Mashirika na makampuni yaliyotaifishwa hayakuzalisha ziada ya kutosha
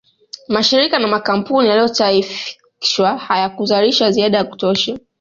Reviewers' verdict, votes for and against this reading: rejected, 0, 2